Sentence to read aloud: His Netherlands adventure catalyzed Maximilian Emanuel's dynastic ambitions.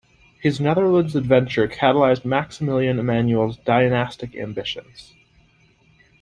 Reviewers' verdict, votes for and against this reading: accepted, 2, 0